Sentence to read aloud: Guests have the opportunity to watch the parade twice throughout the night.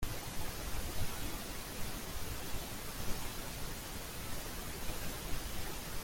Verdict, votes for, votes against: rejected, 0, 2